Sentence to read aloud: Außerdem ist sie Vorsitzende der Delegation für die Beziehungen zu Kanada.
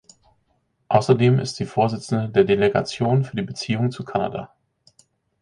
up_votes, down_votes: 4, 0